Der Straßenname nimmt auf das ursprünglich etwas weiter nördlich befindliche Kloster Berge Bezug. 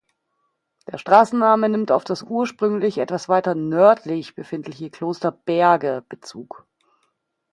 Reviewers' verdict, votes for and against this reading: accepted, 2, 0